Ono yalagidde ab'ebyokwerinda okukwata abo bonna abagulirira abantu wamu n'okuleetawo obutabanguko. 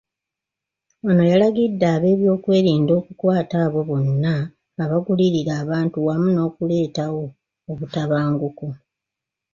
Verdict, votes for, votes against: accepted, 3, 2